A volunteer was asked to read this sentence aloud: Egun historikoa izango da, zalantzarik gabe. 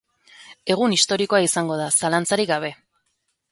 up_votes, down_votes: 2, 0